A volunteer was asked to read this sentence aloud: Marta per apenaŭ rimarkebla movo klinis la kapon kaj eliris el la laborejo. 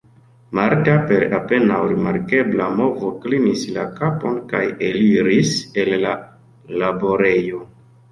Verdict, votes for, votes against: rejected, 1, 2